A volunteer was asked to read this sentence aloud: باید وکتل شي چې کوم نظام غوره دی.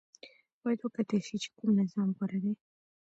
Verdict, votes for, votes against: rejected, 1, 2